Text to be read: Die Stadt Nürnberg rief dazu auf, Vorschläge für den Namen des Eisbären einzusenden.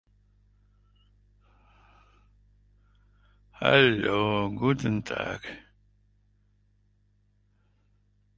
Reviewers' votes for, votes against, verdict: 0, 2, rejected